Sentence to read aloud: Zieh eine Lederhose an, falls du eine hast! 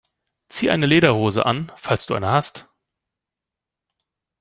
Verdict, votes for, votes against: accepted, 2, 0